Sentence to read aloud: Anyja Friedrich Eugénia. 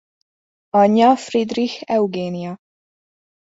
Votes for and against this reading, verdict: 2, 0, accepted